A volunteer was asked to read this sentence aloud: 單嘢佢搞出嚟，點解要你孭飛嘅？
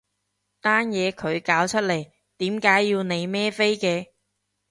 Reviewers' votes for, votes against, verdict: 2, 0, accepted